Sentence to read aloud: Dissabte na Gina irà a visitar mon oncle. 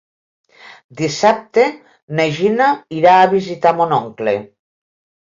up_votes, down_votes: 3, 0